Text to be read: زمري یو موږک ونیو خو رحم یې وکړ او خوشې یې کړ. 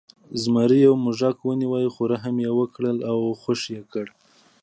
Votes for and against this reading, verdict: 3, 0, accepted